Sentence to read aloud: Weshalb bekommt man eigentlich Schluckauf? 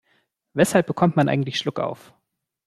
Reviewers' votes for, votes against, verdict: 2, 0, accepted